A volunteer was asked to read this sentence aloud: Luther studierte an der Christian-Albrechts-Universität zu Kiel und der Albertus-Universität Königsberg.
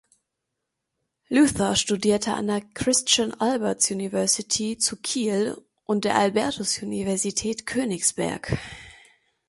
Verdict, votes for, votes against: rejected, 0, 2